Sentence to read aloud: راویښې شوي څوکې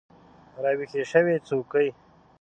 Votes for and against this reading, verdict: 0, 2, rejected